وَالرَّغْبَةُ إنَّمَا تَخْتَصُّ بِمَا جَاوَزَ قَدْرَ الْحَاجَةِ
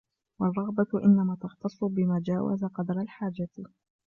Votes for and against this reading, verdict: 2, 0, accepted